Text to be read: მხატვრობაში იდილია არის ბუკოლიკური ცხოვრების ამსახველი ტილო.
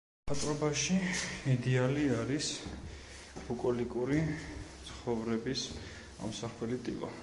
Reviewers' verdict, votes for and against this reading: rejected, 0, 2